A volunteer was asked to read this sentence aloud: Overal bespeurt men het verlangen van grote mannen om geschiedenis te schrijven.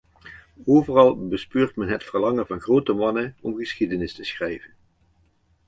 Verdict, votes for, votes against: accepted, 2, 0